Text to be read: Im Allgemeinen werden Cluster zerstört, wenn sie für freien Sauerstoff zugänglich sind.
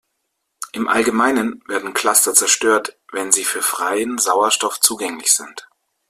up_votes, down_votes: 2, 0